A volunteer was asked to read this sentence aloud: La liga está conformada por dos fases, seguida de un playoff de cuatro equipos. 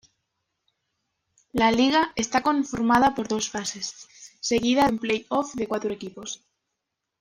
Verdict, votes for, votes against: accepted, 2, 0